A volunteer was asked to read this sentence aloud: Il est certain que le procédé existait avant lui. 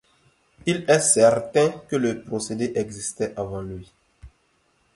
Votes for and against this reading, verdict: 2, 0, accepted